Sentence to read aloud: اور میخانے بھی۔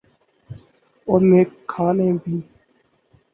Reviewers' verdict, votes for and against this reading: rejected, 2, 4